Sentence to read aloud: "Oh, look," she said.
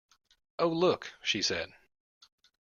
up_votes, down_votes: 2, 0